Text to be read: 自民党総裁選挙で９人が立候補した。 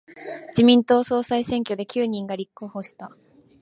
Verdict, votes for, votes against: rejected, 0, 2